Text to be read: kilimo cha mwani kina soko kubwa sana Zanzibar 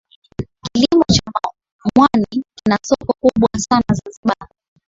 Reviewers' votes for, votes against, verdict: 2, 1, accepted